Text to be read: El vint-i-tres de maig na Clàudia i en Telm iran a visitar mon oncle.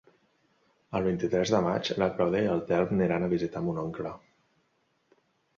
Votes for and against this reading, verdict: 1, 2, rejected